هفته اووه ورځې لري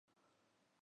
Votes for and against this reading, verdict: 1, 2, rejected